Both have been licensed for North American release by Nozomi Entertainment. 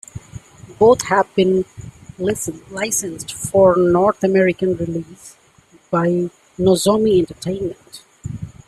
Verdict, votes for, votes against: accepted, 2, 1